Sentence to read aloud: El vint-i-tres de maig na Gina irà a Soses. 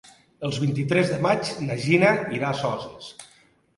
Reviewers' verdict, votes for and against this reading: rejected, 1, 2